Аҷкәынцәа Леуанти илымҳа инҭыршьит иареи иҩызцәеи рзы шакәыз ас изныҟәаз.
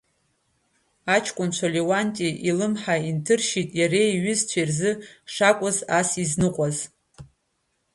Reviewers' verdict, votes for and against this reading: rejected, 1, 2